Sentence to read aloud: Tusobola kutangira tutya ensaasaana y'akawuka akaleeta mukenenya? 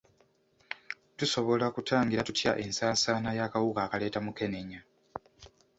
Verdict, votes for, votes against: rejected, 1, 2